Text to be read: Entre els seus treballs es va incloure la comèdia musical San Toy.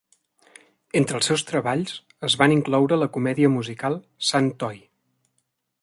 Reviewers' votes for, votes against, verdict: 1, 2, rejected